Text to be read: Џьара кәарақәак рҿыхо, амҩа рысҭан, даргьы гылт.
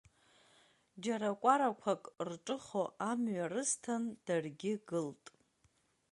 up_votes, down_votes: 2, 0